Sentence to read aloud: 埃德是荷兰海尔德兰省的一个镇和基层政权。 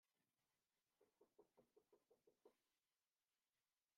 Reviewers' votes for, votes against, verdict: 0, 2, rejected